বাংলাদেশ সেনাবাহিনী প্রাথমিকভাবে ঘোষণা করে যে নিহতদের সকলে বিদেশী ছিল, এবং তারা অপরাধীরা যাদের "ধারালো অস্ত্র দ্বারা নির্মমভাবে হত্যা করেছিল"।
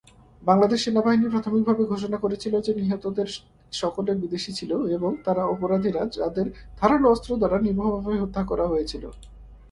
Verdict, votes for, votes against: rejected, 1, 2